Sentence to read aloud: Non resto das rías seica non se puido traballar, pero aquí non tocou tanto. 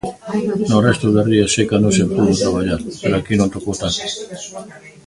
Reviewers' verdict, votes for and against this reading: rejected, 0, 2